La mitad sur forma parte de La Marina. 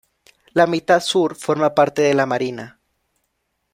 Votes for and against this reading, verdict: 2, 0, accepted